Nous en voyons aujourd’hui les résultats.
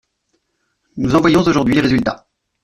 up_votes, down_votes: 0, 2